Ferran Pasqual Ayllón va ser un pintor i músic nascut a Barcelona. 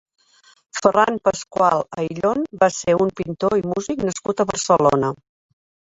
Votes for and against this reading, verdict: 1, 2, rejected